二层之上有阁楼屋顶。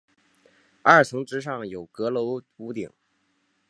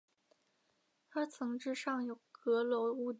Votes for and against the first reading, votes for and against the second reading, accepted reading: 4, 0, 2, 3, first